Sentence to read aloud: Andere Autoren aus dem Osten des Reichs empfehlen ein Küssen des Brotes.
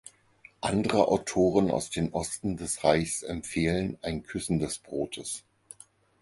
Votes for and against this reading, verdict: 4, 2, accepted